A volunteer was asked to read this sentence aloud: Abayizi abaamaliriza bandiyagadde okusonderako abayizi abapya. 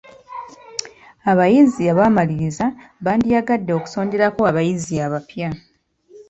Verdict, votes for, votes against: accepted, 2, 1